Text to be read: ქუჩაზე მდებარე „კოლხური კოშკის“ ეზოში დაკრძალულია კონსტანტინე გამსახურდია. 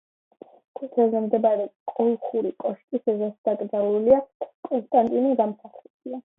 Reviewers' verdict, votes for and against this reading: accepted, 2, 0